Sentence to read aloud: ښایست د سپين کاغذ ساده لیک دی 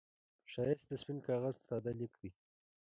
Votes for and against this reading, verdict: 0, 2, rejected